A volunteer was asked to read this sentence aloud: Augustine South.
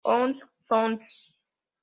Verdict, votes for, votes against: rejected, 0, 2